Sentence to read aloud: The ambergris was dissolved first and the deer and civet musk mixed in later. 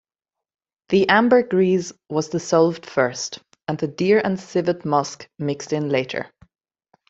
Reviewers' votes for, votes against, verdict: 2, 0, accepted